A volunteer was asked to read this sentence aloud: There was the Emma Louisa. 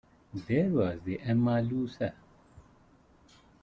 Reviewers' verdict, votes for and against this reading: rejected, 1, 2